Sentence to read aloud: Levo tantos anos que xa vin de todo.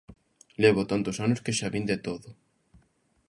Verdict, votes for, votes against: accepted, 2, 0